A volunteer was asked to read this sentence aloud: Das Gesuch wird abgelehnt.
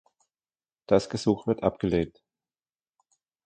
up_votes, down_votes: 1, 2